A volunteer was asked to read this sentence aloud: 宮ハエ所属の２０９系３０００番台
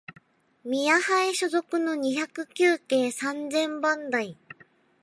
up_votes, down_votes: 0, 2